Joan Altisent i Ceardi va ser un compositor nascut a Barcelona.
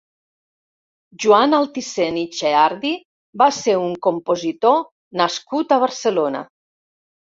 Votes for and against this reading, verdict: 1, 2, rejected